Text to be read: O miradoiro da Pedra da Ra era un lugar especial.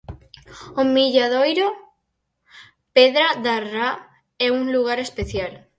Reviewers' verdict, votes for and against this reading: rejected, 2, 4